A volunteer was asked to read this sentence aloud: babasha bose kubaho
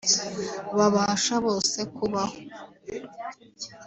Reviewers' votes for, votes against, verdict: 2, 0, accepted